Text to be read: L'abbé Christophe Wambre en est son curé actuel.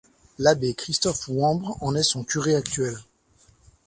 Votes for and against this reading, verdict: 2, 0, accepted